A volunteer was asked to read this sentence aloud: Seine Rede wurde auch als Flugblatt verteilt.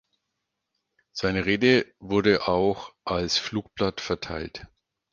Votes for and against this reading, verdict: 4, 0, accepted